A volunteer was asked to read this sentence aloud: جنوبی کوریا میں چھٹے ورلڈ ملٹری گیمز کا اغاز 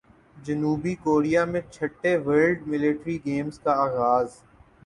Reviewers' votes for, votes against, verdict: 15, 0, accepted